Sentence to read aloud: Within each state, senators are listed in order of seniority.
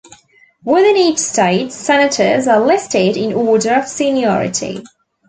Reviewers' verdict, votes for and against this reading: accepted, 2, 0